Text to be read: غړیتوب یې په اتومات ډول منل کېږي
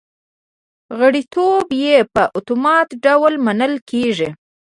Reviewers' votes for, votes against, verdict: 1, 2, rejected